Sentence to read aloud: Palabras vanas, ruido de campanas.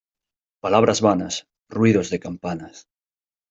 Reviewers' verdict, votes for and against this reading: rejected, 0, 2